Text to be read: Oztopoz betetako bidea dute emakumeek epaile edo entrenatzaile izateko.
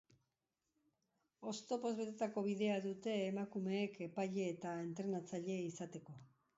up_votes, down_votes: 1, 2